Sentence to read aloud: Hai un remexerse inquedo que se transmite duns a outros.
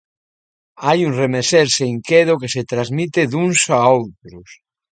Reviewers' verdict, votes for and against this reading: accepted, 2, 0